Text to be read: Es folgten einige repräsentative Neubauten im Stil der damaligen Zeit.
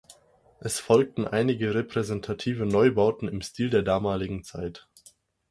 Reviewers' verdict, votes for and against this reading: accepted, 4, 0